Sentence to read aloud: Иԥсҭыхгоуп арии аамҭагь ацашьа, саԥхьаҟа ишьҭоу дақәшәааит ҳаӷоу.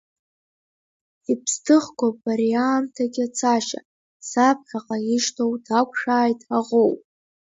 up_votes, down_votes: 2, 1